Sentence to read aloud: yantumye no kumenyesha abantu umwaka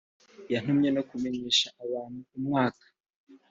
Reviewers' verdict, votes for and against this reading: accepted, 2, 0